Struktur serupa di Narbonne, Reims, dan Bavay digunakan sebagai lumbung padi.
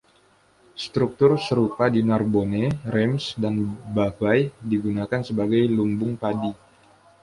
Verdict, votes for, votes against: accepted, 2, 0